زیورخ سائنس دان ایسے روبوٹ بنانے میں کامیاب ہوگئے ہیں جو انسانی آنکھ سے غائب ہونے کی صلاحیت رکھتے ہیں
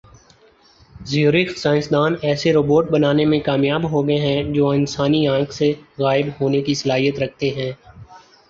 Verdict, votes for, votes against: accepted, 3, 0